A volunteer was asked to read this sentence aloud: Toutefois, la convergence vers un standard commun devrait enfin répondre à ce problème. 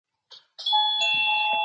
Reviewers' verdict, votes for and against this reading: rejected, 0, 2